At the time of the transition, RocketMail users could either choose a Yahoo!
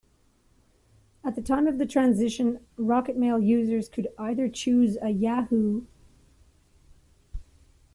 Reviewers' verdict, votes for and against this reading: rejected, 0, 2